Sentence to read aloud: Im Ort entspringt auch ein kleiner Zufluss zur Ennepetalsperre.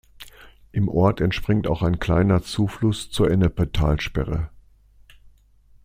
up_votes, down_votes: 2, 0